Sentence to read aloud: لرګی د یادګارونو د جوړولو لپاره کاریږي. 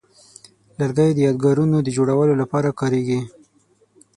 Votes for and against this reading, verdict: 6, 0, accepted